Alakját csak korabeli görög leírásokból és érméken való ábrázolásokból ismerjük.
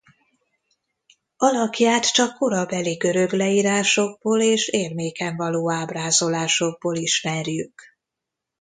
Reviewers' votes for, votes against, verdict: 2, 0, accepted